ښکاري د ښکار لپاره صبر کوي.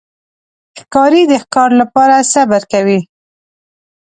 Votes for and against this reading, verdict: 2, 0, accepted